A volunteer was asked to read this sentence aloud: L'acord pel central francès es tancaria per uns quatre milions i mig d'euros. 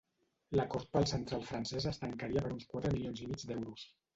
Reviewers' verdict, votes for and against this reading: rejected, 0, 2